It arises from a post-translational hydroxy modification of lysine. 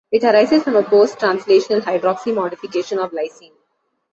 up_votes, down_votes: 2, 0